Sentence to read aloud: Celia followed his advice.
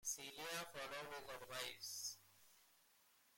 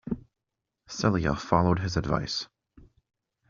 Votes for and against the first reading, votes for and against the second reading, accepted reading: 1, 2, 2, 0, second